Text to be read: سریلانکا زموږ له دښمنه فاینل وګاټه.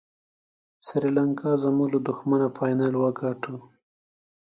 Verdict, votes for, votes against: accepted, 3, 0